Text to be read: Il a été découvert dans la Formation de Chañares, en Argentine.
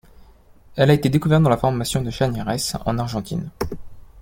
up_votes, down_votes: 1, 2